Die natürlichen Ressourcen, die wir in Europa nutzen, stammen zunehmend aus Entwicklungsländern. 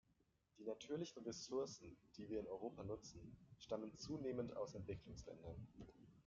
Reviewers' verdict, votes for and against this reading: rejected, 1, 2